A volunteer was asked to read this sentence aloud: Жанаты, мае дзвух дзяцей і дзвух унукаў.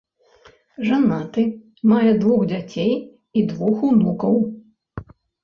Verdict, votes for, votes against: rejected, 1, 2